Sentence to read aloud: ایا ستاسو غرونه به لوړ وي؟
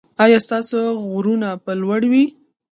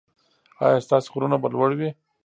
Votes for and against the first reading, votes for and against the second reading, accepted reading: 0, 2, 2, 0, second